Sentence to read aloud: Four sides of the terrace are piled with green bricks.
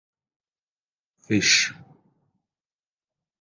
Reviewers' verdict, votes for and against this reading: rejected, 0, 2